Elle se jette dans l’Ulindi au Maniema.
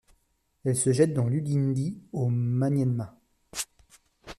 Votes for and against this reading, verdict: 0, 2, rejected